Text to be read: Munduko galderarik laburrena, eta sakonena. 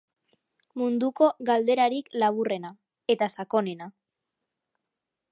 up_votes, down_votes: 3, 0